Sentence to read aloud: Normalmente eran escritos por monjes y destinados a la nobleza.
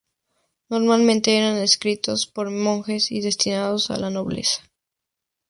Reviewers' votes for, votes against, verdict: 2, 0, accepted